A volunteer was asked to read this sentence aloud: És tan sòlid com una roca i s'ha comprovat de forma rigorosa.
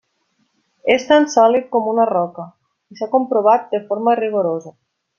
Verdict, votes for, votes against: accepted, 3, 0